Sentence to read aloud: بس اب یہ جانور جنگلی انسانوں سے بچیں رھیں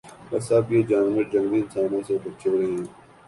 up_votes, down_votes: 3, 0